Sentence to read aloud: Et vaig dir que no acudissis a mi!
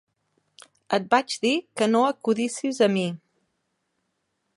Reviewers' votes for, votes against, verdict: 2, 0, accepted